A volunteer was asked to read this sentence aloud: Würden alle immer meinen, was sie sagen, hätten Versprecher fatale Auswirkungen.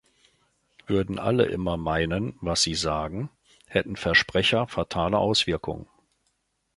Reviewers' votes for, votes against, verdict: 2, 0, accepted